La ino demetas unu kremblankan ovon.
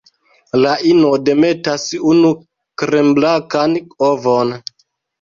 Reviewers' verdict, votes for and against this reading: rejected, 2, 3